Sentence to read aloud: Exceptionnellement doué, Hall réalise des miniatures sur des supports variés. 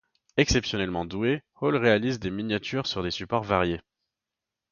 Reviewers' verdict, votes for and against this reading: accepted, 2, 0